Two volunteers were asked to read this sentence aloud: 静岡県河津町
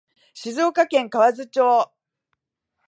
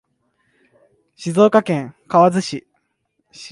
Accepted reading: first